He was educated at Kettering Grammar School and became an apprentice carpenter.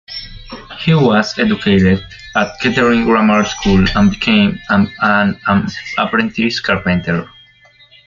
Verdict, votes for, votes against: rejected, 0, 2